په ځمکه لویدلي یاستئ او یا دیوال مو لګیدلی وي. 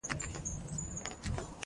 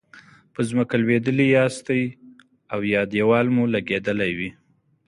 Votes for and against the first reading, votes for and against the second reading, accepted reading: 0, 2, 2, 0, second